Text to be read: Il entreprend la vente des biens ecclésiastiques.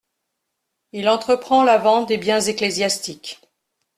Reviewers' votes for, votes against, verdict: 2, 0, accepted